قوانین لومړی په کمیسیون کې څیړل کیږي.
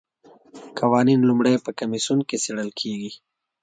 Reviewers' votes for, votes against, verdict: 2, 0, accepted